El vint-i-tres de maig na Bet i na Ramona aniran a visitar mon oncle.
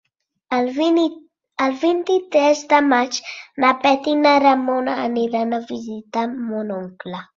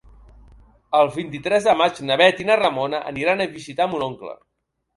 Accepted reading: second